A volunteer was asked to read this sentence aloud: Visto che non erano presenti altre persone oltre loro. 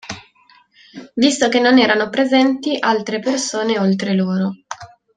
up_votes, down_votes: 2, 0